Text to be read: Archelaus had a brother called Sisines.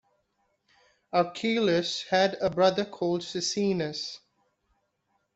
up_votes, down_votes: 2, 0